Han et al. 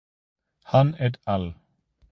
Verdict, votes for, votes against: accepted, 2, 0